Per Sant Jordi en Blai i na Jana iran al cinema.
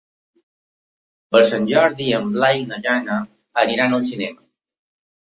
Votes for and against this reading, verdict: 1, 3, rejected